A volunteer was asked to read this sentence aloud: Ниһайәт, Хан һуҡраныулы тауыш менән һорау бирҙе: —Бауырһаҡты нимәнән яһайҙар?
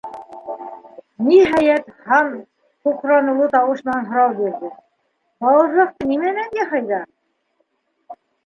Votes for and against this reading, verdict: 0, 2, rejected